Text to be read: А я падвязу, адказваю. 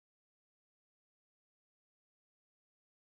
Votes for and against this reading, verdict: 0, 2, rejected